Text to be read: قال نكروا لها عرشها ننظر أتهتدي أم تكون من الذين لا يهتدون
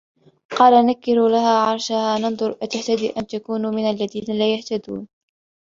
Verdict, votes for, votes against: accepted, 3, 0